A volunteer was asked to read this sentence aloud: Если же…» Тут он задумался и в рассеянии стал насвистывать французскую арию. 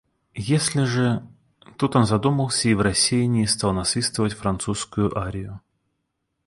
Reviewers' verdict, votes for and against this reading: accepted, 2, 0